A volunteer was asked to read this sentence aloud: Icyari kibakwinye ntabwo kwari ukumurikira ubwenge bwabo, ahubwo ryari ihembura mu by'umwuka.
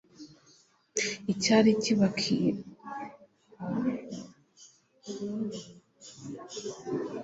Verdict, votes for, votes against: rejected, 1, 2